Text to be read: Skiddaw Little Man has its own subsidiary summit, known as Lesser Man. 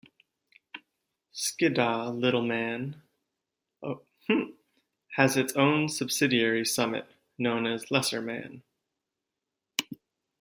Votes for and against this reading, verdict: 1, 2, rejected